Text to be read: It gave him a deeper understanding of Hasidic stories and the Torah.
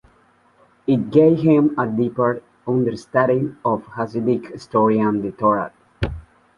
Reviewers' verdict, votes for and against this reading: rejected, 0, 2